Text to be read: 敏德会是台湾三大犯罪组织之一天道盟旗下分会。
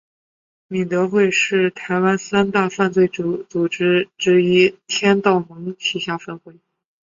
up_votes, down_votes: 7, 1